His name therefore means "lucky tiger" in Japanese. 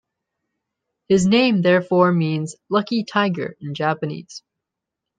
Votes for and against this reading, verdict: 2, 0, accepted